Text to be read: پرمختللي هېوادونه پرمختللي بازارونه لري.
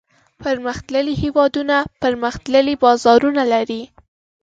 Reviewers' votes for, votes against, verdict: 2, 0, accepted